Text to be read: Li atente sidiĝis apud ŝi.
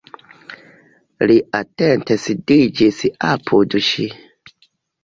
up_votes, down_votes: 1, 2